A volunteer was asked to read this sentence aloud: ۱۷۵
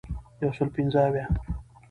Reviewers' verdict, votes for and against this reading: rejected, 0, 2